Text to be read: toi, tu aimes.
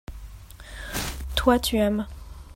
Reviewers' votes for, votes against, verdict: 2, 0, accepted